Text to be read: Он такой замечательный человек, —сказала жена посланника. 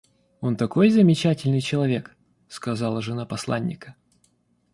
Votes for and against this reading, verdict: 2, 0, accepted